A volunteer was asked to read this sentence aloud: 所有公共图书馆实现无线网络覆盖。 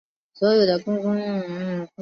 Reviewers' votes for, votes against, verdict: 0, 2, rejected